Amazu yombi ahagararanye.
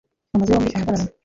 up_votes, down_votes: 0, 2